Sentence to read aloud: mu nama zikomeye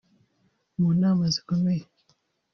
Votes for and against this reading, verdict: 0, 2, rejected